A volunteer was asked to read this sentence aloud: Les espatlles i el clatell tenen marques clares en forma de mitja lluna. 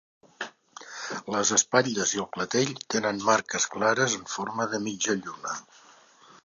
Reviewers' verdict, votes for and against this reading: accepted, 4, 0